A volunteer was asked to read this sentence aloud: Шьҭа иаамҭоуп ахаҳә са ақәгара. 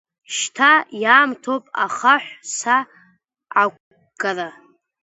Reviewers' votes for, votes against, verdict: 2, 0, accepted